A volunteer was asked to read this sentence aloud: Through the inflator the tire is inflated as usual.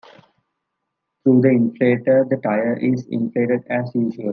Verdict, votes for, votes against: accepted, 2, 0